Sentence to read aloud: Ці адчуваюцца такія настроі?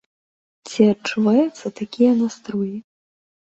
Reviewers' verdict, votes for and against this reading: accepted, 2, 0